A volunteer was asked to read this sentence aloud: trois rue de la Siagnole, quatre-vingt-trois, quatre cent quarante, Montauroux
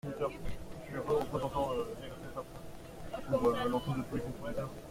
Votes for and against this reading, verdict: 0, 2, rejected